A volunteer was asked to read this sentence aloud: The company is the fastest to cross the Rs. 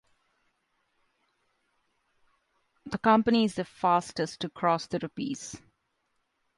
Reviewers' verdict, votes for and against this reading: rejected, 1, 2